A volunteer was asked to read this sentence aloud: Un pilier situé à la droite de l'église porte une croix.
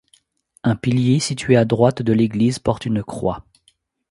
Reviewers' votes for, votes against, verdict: 0, 2, rejected